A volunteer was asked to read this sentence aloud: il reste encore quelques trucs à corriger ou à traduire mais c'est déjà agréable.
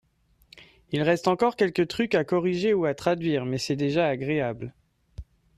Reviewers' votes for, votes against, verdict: 2, 0, accepted